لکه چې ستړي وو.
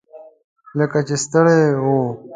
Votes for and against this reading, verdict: 1, 2, rejected